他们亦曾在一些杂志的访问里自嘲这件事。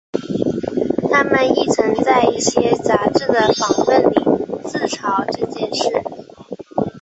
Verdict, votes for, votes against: accepted, 5, 0